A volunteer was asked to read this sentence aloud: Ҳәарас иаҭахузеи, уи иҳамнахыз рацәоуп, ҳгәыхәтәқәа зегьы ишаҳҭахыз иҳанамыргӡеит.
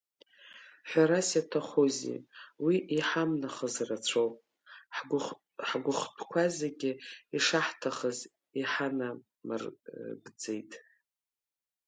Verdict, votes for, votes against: rejected, 0, 2